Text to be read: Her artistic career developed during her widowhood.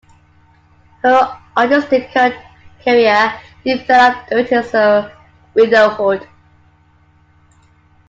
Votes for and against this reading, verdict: 0, 2, rejected